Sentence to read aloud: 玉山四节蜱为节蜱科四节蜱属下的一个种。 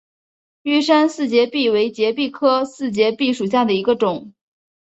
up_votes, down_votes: 2, 0